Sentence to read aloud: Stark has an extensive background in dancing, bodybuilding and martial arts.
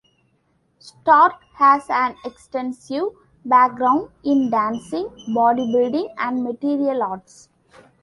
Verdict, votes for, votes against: rejected, 1, 2